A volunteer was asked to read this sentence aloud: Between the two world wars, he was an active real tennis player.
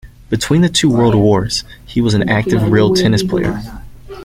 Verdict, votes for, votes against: accepted, 2, 1